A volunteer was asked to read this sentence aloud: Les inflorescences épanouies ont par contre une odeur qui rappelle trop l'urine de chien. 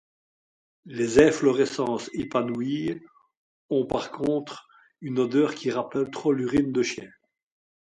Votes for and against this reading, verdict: 2, 0, accepted